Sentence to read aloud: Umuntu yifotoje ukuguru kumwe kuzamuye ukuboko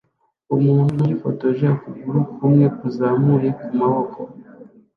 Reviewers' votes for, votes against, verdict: 0, 2, rejected